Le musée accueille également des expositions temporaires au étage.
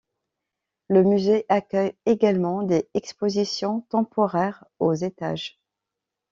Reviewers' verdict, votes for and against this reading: rejected, 0, 2